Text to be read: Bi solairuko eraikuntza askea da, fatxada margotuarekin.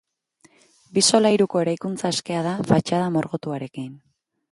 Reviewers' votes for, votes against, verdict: 2, 0, accepted